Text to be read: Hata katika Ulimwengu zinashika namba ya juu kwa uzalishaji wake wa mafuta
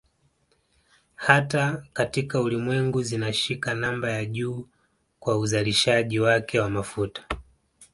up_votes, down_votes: 2, 1